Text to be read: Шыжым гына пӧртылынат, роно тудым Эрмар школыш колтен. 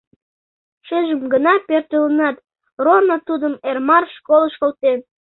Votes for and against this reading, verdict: 2, 0, accepted